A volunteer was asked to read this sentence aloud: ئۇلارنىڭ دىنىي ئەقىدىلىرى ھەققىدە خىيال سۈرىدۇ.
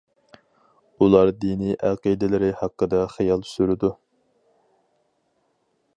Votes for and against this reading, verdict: 0, 4, rejected